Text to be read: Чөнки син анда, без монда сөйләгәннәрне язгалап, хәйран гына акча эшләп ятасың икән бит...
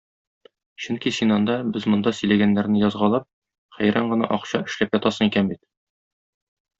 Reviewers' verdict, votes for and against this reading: accepted, 2, 0